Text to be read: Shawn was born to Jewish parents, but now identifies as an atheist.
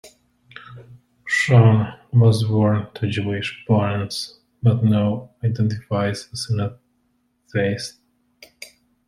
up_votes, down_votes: 0, 2